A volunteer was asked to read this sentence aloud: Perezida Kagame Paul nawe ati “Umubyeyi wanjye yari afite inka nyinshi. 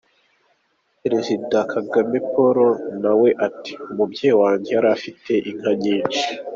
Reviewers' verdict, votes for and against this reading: accepted, 2, 0